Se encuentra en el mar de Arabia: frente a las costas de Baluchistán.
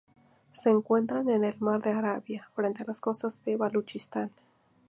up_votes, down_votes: 4, 0